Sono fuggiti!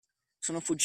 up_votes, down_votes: 0, 2